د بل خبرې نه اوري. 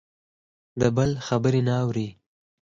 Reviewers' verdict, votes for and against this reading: accepted, 4, 2